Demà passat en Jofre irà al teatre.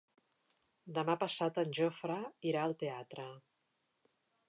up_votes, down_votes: 3, 0